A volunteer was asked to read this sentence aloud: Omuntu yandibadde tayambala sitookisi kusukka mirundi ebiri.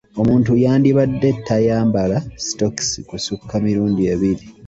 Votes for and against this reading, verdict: 2, 1, accepted